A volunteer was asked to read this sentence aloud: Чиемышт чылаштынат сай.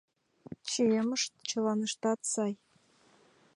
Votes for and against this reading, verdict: 1, 2, rejected